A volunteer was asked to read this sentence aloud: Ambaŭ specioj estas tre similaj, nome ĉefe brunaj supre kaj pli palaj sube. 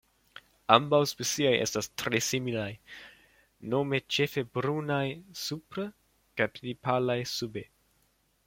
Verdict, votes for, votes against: rejected, 0, 2